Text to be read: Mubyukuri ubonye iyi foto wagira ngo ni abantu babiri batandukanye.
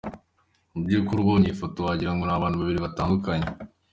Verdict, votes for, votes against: accepted, 2, 0